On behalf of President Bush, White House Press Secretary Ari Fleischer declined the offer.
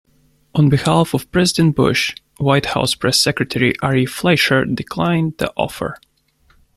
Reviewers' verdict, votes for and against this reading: accepted, 2, 1